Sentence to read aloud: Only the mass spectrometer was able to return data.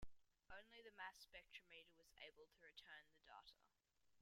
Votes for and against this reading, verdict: 0, 2, rejected